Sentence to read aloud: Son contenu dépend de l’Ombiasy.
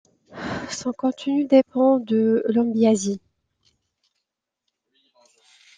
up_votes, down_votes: 2, 0